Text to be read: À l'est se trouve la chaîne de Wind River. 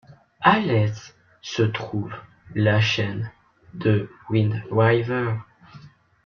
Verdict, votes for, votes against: rejected, 0, 2